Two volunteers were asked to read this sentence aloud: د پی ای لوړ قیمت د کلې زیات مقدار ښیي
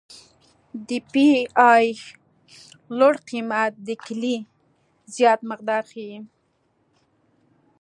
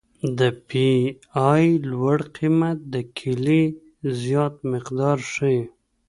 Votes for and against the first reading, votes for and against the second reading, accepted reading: 2, 0, 1, 2, first